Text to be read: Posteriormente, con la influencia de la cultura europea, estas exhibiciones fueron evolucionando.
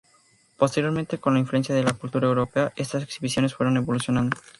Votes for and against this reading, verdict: 0, 2, rejected